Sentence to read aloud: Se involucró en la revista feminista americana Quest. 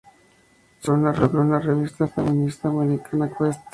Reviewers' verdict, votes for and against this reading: rejected, 0, 2